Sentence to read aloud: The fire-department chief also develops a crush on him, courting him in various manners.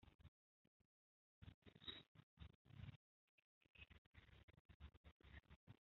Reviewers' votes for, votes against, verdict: 0, 2, rejected